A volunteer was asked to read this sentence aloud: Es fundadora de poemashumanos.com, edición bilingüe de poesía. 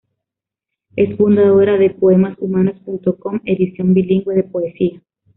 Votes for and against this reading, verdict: 2, 1, accepted